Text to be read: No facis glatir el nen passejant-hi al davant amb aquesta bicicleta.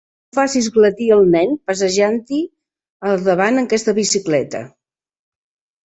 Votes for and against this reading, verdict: 1, 2, rejected